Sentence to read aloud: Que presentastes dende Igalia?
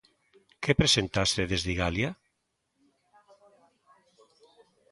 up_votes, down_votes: 0, 2